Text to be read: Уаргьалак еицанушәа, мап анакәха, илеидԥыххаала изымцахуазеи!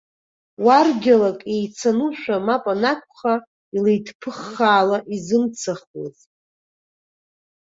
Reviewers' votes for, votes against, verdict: 1, 2, rejected